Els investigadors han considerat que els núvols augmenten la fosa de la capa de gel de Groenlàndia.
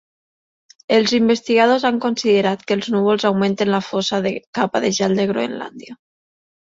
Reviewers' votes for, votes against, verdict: 2, 3, rejected